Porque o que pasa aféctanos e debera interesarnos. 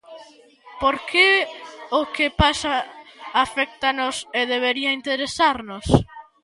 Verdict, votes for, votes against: rejected, 0, 2